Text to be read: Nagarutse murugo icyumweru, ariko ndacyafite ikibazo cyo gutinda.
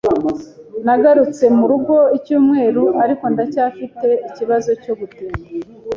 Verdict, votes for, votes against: accepted, 2, 0